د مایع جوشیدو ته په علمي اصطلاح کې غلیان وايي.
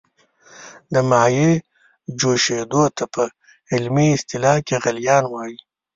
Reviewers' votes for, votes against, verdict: 1, 2, rejected